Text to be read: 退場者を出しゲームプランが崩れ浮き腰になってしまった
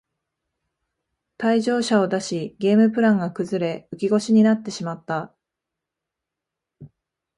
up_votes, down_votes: 2, 0